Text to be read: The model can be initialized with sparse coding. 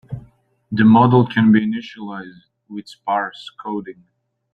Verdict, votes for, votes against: accepted, 2, 0